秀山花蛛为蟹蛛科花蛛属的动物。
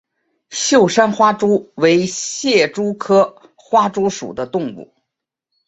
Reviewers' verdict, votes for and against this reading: accepted, 5, 0